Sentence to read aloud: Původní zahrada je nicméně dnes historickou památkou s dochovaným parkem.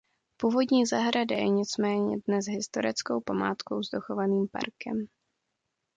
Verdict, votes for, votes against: accepted, 2, 0